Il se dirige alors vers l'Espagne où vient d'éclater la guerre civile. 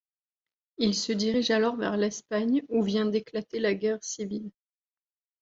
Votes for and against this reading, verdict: 2, 0, accepted